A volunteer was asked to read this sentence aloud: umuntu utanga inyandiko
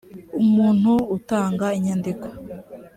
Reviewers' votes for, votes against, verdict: 2, 0, accepted